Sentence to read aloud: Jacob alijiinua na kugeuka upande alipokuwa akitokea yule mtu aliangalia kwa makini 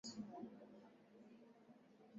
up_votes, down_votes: 0, 2